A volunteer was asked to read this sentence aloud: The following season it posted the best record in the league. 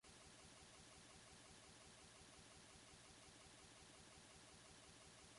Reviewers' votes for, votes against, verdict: 0, 2, rejected